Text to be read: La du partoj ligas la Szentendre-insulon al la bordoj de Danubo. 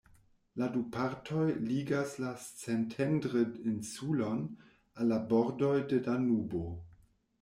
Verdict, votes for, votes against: rejected, 1, 2